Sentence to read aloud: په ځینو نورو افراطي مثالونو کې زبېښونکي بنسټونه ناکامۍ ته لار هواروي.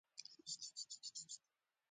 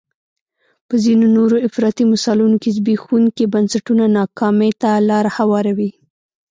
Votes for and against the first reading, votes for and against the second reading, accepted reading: 1, 2, 2, 0, second